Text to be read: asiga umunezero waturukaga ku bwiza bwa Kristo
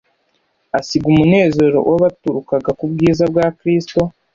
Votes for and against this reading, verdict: 1, 2, rejected